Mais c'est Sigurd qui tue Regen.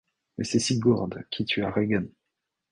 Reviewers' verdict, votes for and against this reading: rejected, 1, 2